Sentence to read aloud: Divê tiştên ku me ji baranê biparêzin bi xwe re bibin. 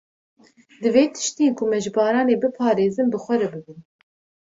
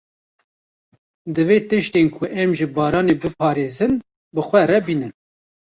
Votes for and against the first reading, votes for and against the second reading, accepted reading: 2, 0, 0, 2, first